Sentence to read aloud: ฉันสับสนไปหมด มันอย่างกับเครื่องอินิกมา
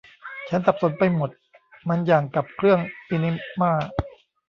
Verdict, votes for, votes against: rejected, 1, 2